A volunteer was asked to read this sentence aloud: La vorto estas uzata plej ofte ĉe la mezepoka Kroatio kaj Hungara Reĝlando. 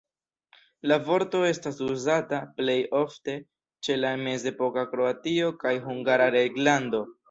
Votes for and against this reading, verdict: 2, 1, accepted